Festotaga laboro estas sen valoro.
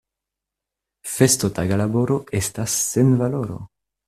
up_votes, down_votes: 2, 0